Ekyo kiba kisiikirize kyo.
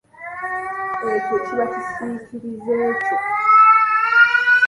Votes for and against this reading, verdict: 1, 2, rejected